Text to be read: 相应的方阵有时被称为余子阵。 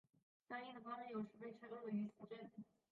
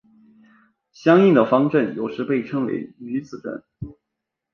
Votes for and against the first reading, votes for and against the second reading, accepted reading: 1, 2, 2, 0, second